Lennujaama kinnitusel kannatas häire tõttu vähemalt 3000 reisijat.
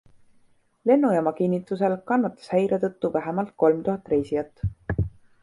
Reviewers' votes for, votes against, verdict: 0, 2, rejected